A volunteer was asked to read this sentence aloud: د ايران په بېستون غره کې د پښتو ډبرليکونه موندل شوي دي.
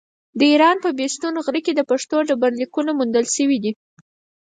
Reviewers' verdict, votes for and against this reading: accepted, 4, 0